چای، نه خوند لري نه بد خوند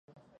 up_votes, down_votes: 0, 2